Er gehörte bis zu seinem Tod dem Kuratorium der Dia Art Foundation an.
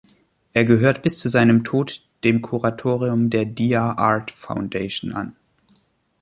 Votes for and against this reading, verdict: 1, 2, rejected